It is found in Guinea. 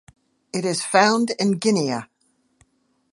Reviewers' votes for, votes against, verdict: 2, 1, accepted